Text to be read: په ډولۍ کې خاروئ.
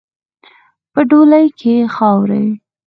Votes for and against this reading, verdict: 4, 0, accepted